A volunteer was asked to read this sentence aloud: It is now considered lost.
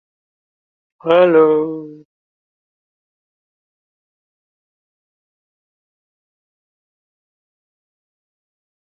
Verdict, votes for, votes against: rejected, 0, 2